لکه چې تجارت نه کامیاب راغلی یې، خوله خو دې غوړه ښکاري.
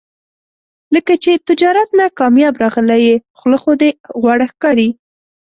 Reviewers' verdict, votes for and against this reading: accepted, 2, 0